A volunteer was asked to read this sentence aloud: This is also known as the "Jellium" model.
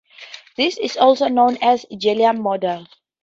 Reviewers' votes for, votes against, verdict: 0, 2, rejected